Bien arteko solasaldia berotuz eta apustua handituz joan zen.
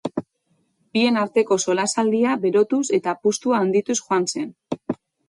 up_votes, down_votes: 2, 0